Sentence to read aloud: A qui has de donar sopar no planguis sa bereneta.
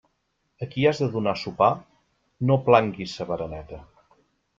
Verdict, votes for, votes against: accepted, 2, 1